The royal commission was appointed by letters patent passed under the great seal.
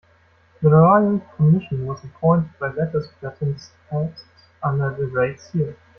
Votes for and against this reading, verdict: 0, 2, rejected